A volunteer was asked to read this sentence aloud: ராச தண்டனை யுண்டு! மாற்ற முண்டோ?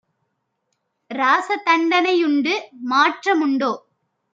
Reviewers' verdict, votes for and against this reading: accepted, 2, 0